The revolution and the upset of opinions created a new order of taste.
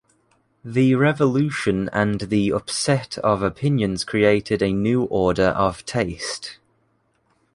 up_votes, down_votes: 2, 0